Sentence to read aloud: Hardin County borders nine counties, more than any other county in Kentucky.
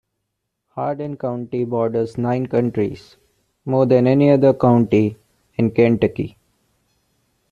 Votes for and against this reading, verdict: 0, 2, rejected